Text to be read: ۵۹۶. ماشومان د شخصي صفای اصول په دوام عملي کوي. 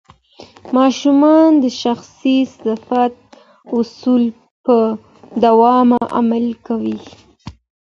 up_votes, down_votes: 0, 2